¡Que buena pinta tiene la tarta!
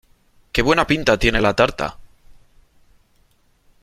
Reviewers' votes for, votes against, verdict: 3, 0, accepted